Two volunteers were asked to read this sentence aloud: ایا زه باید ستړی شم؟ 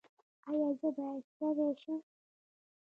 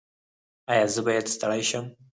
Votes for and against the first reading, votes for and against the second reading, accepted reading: 2, 0, 2, 4, first